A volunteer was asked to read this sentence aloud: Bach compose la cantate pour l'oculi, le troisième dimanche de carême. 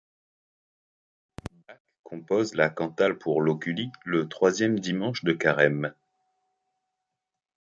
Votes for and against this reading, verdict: 0, 2, rejected